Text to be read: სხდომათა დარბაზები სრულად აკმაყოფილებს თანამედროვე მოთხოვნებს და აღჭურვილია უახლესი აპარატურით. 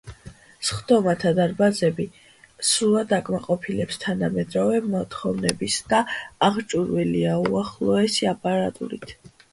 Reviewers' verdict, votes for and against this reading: rejected, 0, 2